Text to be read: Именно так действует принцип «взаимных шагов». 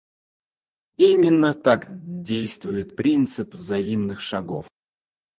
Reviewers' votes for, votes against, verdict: 0, 2, rejected